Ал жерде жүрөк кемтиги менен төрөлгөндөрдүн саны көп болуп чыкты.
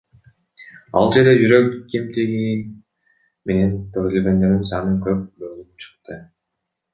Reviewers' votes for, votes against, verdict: 0, 2, rejected